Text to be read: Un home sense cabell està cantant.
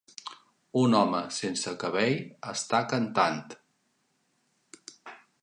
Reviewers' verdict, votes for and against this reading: accepted, 3, 0